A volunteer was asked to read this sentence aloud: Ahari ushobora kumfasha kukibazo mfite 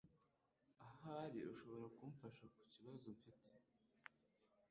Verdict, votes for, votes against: rejected, 0, 2